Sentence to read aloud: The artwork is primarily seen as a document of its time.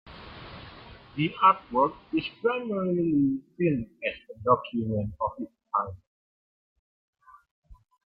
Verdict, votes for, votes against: accepted, 2, 1